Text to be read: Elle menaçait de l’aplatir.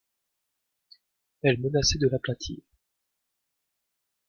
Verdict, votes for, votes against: accepted, 2, 1